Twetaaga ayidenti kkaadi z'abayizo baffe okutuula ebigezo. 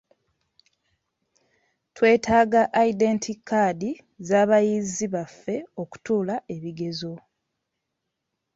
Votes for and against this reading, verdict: 1, 2, rejected